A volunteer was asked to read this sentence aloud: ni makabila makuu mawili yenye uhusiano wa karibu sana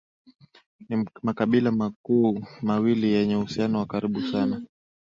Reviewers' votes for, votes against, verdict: 7, 1, accepted